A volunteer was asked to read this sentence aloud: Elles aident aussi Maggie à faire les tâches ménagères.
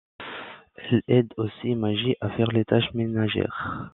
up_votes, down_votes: 0, 3